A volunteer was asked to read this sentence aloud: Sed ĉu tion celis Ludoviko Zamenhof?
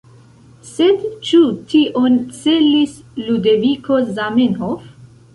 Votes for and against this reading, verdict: 0, 2, rejected